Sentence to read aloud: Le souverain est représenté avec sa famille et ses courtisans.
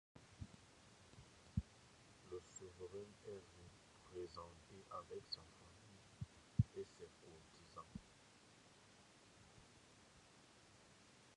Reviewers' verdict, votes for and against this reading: rejected, 0, 2